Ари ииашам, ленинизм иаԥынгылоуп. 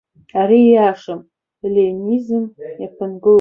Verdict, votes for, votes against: rejected, 0, 2